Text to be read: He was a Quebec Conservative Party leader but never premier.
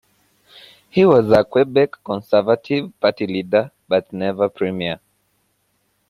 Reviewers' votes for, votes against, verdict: 1, 2, rejected